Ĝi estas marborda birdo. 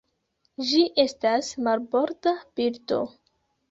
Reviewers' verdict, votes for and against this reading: rejected, 0, 2